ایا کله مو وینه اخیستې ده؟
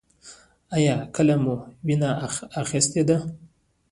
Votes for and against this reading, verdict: 2, 1, accepted